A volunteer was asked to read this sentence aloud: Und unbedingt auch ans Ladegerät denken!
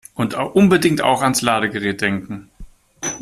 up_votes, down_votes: 1, 2